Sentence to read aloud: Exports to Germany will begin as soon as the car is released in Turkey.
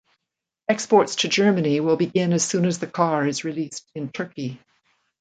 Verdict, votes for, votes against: accepted, 2, 0